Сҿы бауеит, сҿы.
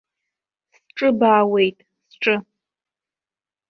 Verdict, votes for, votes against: rejected, 1, 2